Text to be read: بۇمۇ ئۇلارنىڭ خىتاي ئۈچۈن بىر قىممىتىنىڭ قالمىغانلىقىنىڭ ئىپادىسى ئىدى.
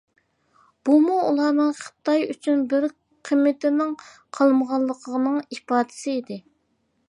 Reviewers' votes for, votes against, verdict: 3, 0, accepted